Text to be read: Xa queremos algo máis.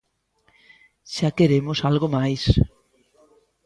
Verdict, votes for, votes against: accepted, 2, 0